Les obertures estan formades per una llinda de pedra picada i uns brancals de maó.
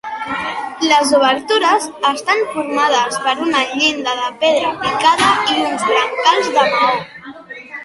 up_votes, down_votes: 0, 2